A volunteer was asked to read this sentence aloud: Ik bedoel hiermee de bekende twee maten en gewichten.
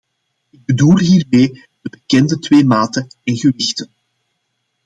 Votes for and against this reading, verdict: 2, 0, accepted